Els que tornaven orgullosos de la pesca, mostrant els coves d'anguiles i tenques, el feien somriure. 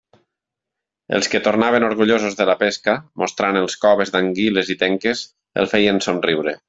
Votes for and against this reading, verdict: 3, 0, accepted